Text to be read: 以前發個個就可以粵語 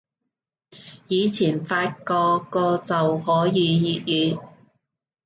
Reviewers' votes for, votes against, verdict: 2, 0, accepted